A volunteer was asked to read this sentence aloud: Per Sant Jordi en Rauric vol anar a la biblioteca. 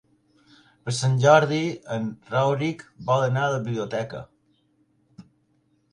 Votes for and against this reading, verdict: 2, 1, accepted